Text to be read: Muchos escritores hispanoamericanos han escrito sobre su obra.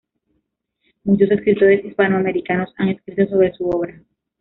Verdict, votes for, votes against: accepted, 2, 0